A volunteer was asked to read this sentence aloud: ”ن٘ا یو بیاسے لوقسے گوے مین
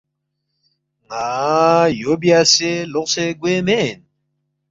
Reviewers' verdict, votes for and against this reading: accepted, 2, 0